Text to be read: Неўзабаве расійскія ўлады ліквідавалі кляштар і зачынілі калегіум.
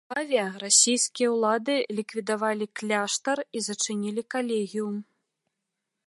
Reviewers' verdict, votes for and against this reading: rejected, 0, 2